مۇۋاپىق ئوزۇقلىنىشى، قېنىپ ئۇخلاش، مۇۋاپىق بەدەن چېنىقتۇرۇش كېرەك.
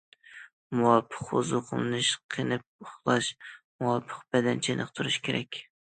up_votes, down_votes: 1, 2